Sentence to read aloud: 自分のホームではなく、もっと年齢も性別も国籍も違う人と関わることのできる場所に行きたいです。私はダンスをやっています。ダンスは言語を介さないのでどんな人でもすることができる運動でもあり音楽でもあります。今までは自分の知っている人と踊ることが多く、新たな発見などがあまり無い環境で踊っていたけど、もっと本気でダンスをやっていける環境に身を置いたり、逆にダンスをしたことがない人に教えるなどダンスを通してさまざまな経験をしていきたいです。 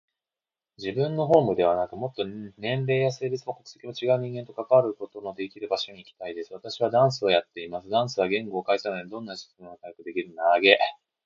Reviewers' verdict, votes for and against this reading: rejected, 0, 2